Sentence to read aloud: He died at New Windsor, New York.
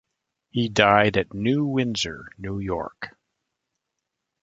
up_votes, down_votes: 2, 0